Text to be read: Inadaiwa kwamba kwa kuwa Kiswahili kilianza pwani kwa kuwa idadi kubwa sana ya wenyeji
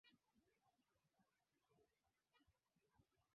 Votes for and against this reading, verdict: 0, 2, rejected